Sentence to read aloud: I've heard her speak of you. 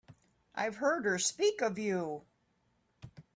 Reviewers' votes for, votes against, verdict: 2, 0, accepted